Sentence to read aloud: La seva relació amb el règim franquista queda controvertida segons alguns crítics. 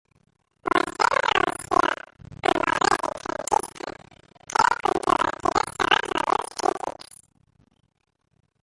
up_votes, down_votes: 0, 2